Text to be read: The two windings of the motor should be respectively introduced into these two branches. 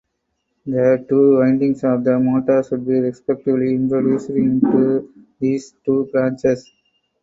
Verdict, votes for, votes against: accepted, 4, 2